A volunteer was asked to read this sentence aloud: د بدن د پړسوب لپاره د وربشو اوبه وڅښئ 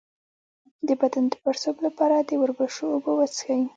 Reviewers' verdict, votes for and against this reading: accepted, 2, 1